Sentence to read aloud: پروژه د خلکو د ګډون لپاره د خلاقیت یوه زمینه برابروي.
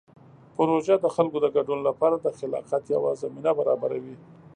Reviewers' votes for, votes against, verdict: 2, 0, accepted